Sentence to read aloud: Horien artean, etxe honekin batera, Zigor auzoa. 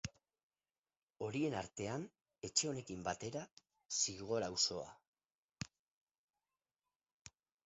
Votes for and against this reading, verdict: 0, 2, rejected